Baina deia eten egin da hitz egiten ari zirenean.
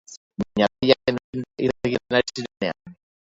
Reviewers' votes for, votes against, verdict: 1, 2, rejected